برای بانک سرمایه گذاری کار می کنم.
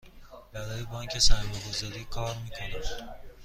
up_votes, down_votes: 2, 0